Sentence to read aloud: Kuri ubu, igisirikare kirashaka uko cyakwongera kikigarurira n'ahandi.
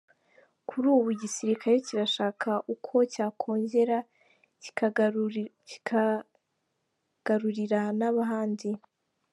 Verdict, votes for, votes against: rejected, 1, 2